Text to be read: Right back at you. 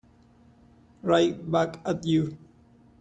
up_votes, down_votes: 2, 0